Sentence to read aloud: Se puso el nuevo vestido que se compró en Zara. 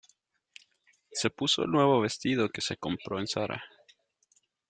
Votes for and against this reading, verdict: 2, 0, accepted